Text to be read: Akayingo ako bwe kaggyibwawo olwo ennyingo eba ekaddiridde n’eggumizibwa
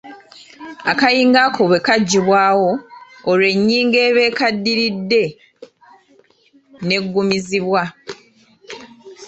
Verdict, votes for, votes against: rejected, 0, 2